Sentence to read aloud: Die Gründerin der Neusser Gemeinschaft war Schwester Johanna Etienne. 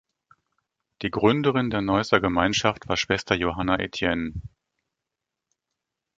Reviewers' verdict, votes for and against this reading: accepted, 2, 0